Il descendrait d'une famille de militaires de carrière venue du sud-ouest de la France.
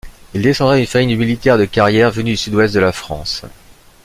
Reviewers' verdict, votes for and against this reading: rejected, 1, 2